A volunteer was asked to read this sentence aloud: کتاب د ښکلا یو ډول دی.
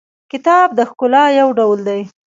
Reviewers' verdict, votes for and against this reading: accepted, 2, 0